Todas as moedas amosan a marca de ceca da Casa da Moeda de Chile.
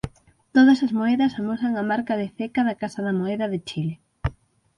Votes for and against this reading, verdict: 3, 6, rejected